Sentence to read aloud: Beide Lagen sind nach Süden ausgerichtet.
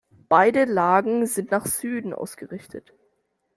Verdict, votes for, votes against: accepted, 2, 0